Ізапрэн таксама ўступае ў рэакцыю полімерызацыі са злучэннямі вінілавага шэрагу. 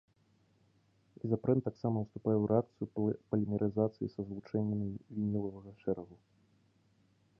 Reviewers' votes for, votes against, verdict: 0, 3, rejected